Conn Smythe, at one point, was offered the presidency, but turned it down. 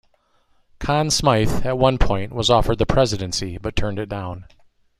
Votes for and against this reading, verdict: 2, 0, accepted